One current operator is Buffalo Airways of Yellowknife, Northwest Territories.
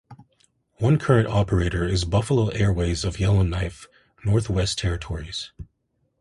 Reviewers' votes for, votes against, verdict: 0, 2, rejected